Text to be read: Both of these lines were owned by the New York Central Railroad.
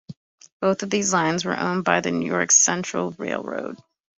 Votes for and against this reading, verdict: 2, 0, accepted